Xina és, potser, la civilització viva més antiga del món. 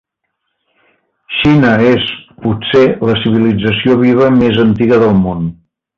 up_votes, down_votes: 2, 0